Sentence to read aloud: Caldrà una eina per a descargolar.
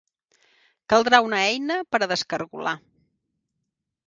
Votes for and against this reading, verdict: 3, 0, accepted